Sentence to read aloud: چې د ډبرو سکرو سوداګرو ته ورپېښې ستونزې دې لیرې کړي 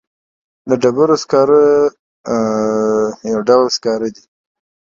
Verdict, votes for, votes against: rejected, 1, 3